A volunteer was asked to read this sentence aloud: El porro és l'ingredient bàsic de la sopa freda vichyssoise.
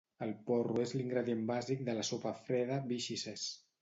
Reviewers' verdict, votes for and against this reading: rejected, 0, 2